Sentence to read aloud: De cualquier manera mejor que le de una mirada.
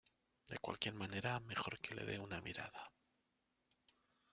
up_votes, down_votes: 1, 2